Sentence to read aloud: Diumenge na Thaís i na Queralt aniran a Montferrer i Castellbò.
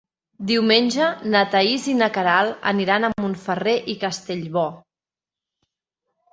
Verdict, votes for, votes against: accepted, 4, 0